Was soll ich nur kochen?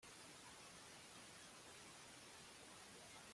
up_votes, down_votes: 0, 2